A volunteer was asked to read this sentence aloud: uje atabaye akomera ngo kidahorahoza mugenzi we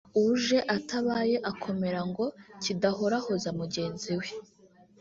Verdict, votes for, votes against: rejected, 0, 2